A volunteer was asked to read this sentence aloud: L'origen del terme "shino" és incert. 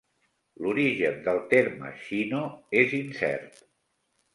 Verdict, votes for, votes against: accepted, 2, 0